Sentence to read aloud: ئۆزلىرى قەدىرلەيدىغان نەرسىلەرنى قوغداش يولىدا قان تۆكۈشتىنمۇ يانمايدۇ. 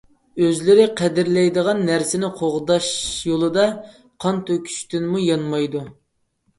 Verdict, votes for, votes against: rejected, 1, 2